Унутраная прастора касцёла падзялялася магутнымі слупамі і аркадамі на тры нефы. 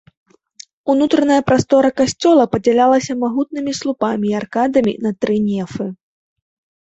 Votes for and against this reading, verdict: 2, 0, accepted